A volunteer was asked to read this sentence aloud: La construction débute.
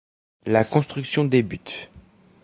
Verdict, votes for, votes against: accepted, 2, 0